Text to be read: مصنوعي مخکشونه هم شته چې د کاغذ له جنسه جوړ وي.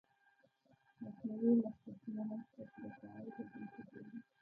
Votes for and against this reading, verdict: 1, 2, rejected